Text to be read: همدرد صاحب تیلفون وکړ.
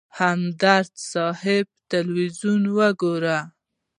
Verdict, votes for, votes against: rejected, 1, 2